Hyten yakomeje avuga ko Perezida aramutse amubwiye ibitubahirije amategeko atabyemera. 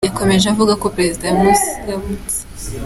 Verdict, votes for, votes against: rejected, 1, 2